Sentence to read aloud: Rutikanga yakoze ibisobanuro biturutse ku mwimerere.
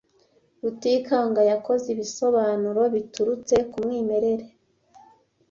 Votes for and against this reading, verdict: 2, 0, accepted